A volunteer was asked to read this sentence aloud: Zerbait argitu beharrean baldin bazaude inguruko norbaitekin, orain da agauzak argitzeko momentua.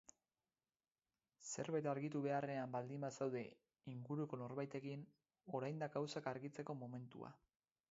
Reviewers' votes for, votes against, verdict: 4, 0, accepted